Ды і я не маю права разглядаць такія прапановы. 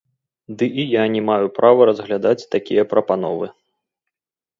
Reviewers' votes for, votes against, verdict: 1, 3, rejected